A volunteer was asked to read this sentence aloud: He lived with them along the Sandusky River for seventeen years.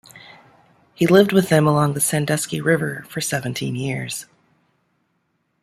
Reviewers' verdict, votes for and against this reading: accepted, 2, 0